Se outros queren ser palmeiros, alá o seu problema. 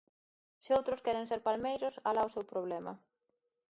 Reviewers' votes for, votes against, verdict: 0, 2, rejected